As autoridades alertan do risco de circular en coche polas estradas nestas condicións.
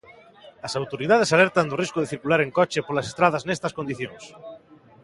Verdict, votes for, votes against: accepted, 2, 0